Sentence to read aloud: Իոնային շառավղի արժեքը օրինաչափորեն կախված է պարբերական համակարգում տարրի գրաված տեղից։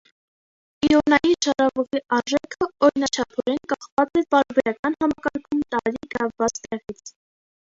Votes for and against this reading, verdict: 1, 2, rejected